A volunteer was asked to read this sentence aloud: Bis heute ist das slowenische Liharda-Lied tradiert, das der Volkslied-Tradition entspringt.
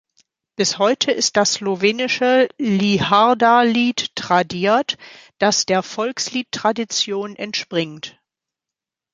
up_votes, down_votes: 2, 0